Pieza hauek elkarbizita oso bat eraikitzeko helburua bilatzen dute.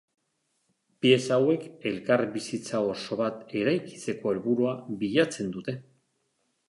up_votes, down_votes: 2, 0